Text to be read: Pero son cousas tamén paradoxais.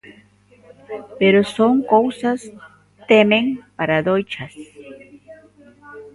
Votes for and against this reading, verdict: 1, 2, rejected